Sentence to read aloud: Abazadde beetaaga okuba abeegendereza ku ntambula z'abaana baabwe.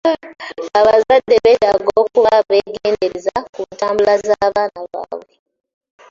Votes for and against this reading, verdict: 0, 2, rejected